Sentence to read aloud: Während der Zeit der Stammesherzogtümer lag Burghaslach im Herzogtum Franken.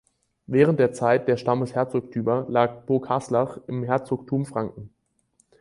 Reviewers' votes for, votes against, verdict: 4, 0, accepted